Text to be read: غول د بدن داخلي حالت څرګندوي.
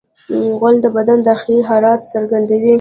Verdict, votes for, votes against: rejected, 0, 2